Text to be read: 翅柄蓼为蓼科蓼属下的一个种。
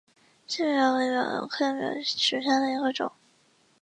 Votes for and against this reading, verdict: 3, 0, accepted